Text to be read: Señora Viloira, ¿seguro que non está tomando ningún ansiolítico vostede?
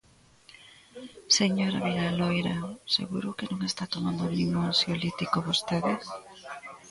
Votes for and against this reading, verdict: 1, 2, rejected